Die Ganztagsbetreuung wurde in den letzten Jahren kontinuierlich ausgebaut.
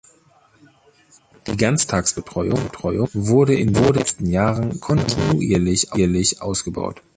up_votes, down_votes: 0, 2